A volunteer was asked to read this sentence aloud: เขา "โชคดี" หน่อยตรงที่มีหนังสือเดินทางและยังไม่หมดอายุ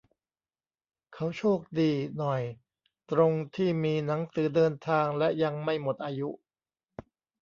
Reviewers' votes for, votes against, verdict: 0, 2, rejected